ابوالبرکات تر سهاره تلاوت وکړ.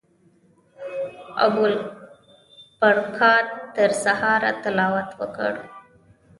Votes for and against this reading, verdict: 0, 2, rejected